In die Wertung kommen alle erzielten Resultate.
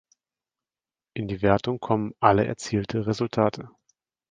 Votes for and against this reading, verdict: 1, 2, rejected